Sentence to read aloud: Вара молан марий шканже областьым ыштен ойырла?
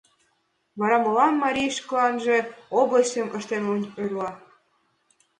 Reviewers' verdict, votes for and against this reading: rejected, 1, 2